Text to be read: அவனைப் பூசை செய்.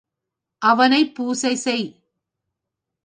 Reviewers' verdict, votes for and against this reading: accepted, 3, 0